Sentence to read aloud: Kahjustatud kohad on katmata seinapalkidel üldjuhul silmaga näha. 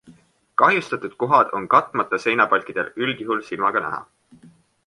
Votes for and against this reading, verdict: 2, 1, accepted